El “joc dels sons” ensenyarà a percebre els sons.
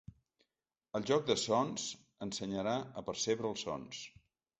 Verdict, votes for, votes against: rejected, 1, 3